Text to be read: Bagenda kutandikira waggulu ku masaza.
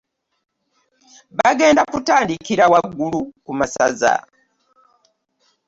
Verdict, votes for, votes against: accepted, 2, 0